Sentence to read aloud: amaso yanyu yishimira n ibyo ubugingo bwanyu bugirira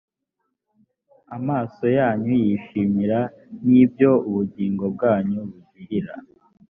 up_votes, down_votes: 2, 0